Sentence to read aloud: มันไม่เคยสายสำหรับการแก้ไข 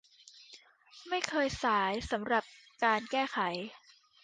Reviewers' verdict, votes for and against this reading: rejected, 0, 2